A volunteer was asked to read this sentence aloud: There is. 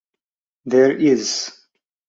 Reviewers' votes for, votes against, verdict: 4, 0, accepted